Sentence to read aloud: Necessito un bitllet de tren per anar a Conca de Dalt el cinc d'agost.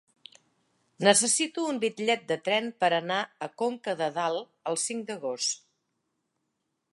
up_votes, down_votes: 4, 0